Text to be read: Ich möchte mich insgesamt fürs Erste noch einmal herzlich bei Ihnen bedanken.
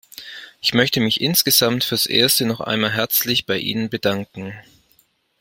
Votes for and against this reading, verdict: 2, 0, accepted